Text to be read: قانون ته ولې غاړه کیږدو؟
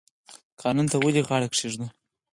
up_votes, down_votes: 0, 4